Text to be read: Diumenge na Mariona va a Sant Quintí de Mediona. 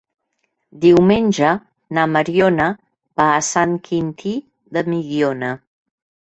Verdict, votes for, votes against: rejected, 1, 2